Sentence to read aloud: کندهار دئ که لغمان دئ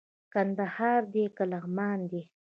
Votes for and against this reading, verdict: 2, 0, accepted